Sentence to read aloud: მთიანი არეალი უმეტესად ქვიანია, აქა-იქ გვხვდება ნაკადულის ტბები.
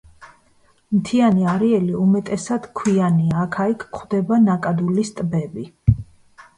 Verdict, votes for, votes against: accepted, 2, 1